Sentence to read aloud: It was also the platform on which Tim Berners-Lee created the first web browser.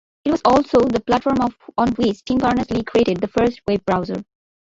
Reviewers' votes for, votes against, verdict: 0, 2, rejected